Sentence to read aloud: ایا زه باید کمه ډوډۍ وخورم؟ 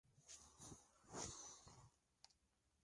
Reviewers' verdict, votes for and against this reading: rejected, 0, 2